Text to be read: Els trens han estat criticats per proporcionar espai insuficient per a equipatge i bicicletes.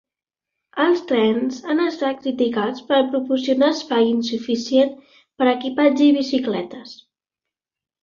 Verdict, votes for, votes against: accepted, 2, 1